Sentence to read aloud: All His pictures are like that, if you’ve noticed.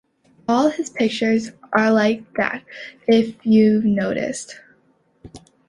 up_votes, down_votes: 2, 0